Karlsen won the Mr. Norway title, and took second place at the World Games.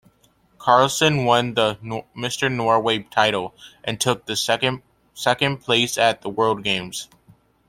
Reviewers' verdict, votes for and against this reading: rejected, 0, 2